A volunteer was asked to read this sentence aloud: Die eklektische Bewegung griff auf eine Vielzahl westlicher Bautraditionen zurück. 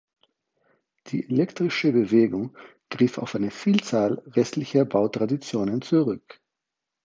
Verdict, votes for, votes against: rejected, 0, 4